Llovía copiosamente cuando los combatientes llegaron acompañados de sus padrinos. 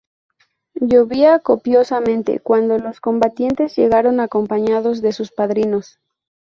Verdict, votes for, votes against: rejected, 0, 2